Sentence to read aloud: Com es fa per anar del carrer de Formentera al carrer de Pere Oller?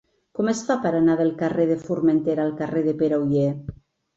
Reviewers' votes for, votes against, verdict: 2, 0, accepted